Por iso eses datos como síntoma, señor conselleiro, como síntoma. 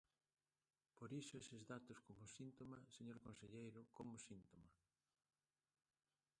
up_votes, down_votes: 0, 2